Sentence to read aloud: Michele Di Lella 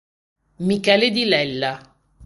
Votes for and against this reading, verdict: 2, 0, accepted